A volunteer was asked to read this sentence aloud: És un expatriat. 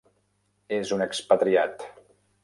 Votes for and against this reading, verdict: 3, 0, accepted